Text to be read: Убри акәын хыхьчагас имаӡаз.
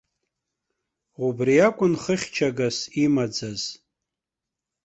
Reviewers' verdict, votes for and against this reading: accepted, 2, 0